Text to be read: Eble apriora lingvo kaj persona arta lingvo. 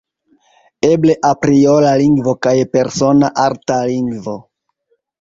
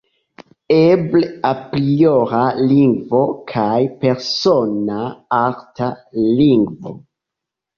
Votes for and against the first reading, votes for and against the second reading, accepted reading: 1, 2, 2, 1, second